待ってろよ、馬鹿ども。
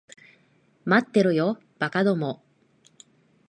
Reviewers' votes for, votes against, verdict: 2, 0, accepted